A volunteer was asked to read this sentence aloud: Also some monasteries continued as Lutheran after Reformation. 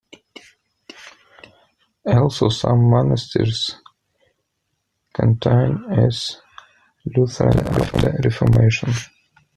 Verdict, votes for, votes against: rejected, 0, 2